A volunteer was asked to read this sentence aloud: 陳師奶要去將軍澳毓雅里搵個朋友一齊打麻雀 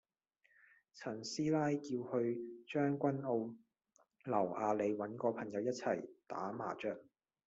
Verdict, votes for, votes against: rejected, 0, 2